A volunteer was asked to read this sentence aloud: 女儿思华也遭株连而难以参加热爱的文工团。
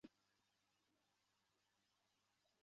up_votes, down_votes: 0, 4